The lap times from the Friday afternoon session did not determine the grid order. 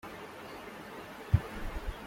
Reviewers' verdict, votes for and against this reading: rejected, 0, 2